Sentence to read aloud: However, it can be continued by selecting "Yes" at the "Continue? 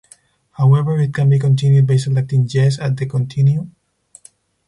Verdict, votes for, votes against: rejected, 2, 4